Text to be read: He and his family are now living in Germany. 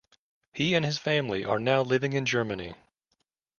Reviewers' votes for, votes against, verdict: 2, 1, accepted